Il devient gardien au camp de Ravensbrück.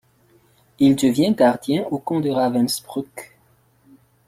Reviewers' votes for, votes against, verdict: 1, 2, rejected